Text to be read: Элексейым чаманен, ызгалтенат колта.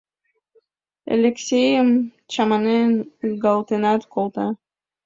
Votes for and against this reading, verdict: 2, 0, accepted